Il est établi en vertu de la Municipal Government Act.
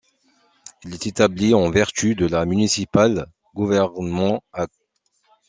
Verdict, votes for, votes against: rejected, 0, 2